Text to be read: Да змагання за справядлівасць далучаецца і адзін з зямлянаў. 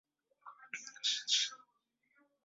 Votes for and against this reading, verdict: 0, 2, rejected